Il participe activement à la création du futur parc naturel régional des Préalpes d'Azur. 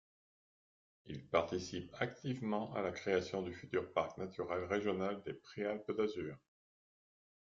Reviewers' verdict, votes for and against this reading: rejected, 1, 2